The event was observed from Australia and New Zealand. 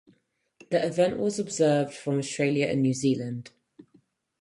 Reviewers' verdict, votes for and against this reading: accepted, 4, 0